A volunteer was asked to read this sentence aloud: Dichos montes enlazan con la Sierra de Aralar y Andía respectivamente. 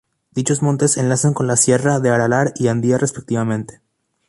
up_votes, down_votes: 2, 2